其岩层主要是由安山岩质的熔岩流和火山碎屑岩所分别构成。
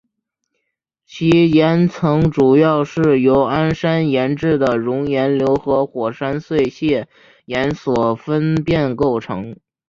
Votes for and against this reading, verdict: 0, 2, rejected